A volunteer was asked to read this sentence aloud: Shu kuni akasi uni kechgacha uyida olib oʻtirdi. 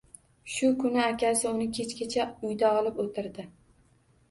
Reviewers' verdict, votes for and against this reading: rejected, 1, 2